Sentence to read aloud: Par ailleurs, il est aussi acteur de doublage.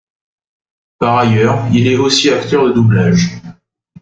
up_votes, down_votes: 1, 2